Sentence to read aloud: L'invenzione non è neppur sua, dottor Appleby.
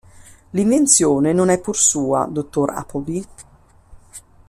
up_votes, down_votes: 1, 2